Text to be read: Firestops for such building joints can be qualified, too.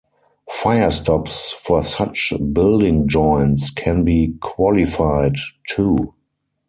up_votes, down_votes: 2, 4